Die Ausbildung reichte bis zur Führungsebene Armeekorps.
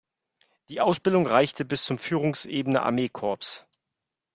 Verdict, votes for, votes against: rejected, 1, 2